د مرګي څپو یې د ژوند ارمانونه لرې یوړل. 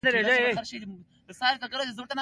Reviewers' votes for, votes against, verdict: 2, 1, accepted